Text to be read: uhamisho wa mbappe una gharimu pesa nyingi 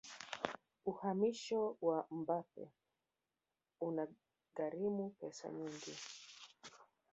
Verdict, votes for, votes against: rejected, 0, 3